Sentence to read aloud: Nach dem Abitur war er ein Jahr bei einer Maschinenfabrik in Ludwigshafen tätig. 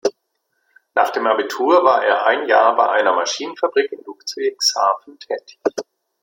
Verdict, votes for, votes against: rejected, 0, 2